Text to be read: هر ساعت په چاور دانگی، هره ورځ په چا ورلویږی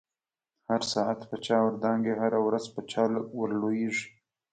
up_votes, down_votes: 2, 0